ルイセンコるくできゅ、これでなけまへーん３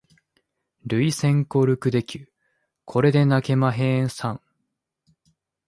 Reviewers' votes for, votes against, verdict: 0, 2, rejected